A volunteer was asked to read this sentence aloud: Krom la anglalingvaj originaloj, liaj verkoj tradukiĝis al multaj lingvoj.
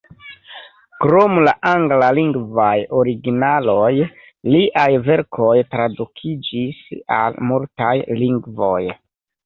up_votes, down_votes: 2, 1